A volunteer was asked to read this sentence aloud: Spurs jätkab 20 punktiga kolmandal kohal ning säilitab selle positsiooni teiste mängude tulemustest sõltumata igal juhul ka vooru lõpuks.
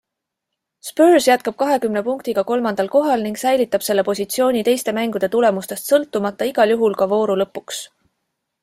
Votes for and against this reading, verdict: 0, 2, rejected